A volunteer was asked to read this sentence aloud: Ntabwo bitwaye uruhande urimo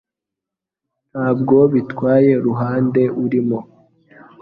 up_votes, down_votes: 2, 0